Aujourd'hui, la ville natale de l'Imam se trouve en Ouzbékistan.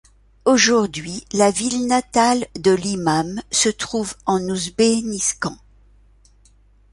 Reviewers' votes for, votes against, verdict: 1, 2, rejected